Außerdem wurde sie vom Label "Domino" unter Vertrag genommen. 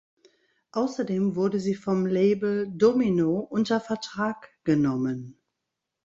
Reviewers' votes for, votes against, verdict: 3, 0, accepted